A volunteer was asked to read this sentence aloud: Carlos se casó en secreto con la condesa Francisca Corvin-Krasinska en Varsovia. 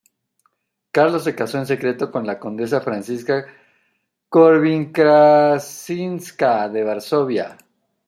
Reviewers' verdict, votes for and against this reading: rejected, 0, 2